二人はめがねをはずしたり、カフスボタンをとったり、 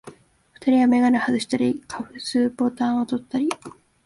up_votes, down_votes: 1, 2